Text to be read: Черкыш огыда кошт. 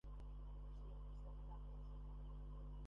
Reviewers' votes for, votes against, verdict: 0, 2, rejected